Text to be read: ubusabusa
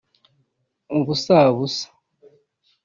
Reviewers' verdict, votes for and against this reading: rejected, 1, 2